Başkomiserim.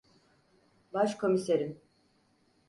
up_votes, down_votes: 4, 0